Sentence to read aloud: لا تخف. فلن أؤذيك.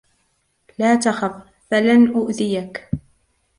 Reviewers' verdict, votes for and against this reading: accepted, 2, 0